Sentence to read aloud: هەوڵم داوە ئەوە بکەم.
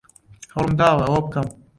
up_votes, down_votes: 2, 0